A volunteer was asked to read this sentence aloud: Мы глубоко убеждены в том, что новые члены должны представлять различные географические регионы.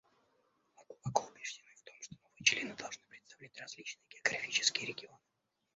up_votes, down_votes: 0, 2